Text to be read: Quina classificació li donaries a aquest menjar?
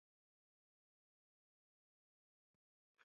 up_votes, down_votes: 0, 4